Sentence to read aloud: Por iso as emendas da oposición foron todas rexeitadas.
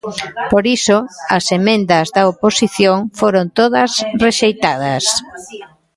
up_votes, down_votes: 1, 2